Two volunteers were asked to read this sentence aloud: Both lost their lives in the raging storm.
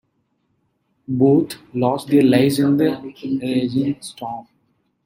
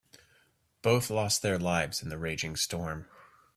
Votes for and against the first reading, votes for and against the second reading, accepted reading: 1, 2, 2, 0, second